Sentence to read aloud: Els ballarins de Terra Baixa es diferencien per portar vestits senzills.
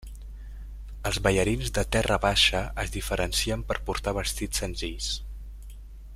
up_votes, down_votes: 3, 0